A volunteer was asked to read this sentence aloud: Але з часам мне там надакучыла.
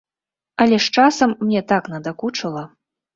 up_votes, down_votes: 0, 2